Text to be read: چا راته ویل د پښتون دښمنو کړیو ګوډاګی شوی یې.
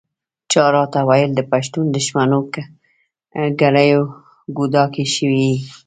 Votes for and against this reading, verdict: 1, 2, rejected